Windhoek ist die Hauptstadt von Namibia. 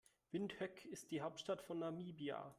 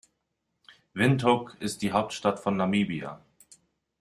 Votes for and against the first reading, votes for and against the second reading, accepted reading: 0, 2, 2, 0, second